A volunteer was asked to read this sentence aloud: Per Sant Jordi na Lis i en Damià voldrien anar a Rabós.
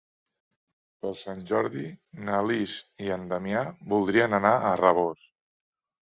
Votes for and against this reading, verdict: 2, 1, accepted